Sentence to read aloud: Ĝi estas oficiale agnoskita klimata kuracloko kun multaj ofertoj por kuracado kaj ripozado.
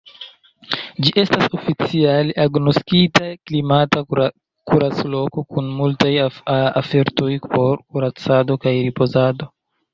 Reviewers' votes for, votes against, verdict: 0, 2, rejected